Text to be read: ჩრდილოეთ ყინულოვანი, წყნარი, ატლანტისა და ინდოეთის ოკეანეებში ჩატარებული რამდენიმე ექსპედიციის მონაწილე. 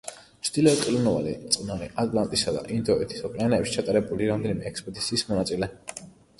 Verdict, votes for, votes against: accepted, 2, 1